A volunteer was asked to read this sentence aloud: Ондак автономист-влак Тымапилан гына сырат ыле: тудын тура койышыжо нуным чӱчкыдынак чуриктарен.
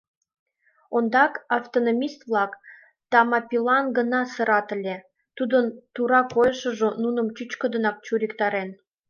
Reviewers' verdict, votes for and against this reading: rejected, 1, 2